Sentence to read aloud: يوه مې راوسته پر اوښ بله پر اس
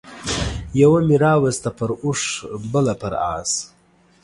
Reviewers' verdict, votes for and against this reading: accepted, 2, 0